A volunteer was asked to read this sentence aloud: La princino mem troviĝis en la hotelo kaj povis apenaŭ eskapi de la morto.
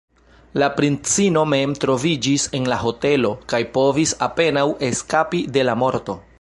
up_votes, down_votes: 1, 2